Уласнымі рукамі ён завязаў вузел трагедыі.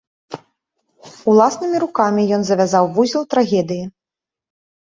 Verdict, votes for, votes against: accepted, 2, 0